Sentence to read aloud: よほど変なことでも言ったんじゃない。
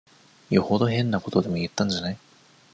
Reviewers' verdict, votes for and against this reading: rejected, 1, 2